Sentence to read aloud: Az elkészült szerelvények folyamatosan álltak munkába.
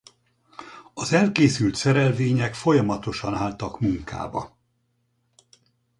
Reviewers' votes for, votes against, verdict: 4, 0, accepted